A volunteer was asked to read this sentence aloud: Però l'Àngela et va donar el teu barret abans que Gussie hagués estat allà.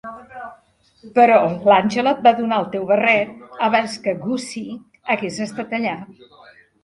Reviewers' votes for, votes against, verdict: 1, 2, rejected